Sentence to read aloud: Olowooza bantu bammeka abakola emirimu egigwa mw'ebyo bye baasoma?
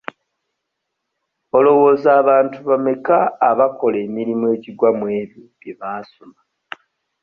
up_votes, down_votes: 1, 2